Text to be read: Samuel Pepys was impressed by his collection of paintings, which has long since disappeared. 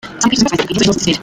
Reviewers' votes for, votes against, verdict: 0, 2, rejected